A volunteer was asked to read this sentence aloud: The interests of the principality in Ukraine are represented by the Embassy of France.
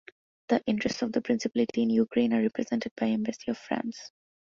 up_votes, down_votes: 0, 2